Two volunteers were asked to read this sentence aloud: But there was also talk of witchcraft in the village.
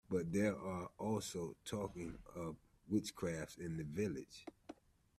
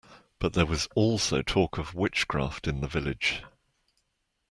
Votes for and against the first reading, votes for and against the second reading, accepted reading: 0, 2, 2, 0, second